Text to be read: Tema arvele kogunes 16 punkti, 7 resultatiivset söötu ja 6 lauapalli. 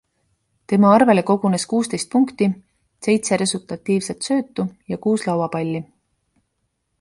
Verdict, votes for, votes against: rejected, 0, 2